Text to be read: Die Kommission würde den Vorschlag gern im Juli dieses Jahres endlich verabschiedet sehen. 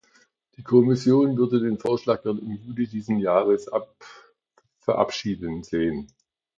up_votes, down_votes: 0, 3